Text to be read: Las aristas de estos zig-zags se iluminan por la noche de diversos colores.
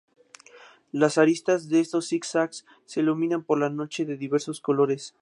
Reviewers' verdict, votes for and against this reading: accepted, 2, 0